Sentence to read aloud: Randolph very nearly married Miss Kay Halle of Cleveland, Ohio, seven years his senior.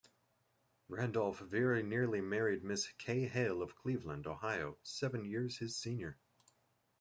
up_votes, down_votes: 2, 0